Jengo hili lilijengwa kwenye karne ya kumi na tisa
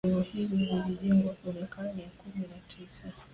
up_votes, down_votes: 1, 2